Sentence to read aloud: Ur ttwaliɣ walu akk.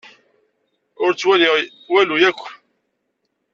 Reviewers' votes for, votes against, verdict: 1, 2, rejected